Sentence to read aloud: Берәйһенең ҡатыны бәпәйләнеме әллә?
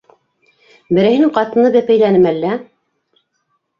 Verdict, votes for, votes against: rejected, 0, 2